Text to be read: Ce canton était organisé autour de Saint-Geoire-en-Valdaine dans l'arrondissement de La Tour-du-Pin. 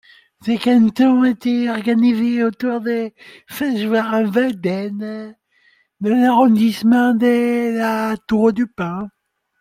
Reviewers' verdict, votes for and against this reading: rejected, 1, 2